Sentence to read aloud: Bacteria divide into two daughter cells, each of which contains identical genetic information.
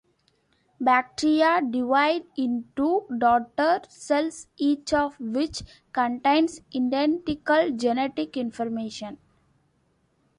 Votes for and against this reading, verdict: 2, 3, rejected